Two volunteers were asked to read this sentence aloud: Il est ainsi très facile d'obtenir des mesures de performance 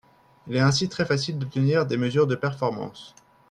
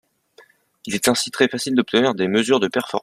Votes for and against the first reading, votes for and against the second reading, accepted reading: 4, 0, 0, 2, first